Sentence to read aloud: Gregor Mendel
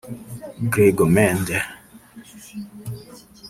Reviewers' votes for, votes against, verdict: 0, 2, rejected